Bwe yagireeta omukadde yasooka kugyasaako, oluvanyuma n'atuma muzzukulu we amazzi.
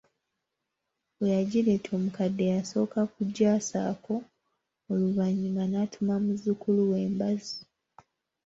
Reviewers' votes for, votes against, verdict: 0, 2, rejected